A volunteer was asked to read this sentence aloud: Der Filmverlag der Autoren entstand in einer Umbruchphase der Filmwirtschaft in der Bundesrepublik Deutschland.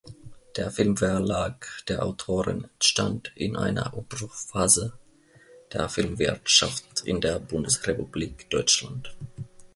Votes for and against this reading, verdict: 1, 2, rejected